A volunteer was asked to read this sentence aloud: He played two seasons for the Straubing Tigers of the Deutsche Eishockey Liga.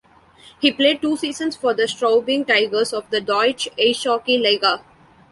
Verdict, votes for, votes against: accepted, 2, 0